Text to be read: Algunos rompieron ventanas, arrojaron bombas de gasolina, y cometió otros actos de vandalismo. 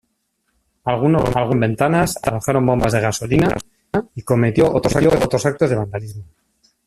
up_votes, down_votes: 0, 2